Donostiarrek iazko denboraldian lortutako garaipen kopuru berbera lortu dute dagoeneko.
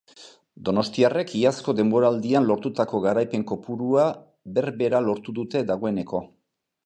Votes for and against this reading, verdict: 0, 2, rejected